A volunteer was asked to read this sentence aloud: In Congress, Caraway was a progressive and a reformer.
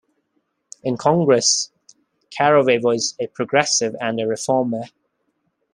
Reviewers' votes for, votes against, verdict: 2, 0, accepted